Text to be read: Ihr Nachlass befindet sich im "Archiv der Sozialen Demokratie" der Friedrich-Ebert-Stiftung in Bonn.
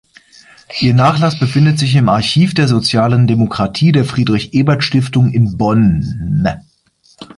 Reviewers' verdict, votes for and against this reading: rejected, 0, 2